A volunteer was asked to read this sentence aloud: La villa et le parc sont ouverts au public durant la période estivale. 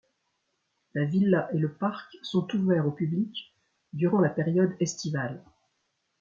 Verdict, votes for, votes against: rejected, 1, 2